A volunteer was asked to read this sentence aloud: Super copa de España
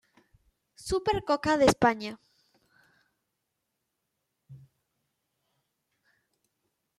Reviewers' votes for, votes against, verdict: 1, 2, rejected